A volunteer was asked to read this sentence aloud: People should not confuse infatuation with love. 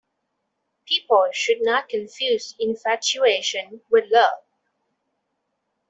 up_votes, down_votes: 2, 0